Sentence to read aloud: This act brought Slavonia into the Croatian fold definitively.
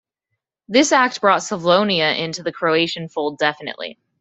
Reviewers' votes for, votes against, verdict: 0, 2, rejected